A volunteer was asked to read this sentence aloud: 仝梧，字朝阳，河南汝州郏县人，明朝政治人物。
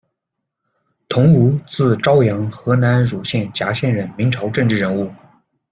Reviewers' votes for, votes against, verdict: 1, 2, rejected